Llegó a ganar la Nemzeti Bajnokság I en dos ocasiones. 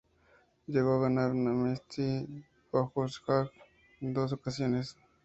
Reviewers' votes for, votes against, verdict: 0, 2, rejected